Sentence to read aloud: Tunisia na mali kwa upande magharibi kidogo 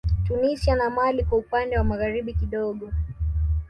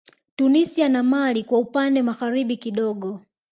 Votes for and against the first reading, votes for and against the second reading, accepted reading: 1, 2, 2, 0, second